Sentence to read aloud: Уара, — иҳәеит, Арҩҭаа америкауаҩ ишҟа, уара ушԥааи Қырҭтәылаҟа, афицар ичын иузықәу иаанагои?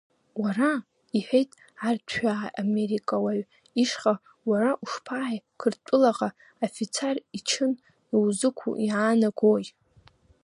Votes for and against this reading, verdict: 2, 3, rejected